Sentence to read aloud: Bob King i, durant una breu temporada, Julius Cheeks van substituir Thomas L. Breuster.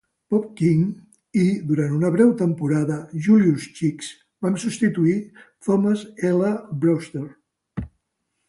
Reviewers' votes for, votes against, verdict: 2, 0, accepted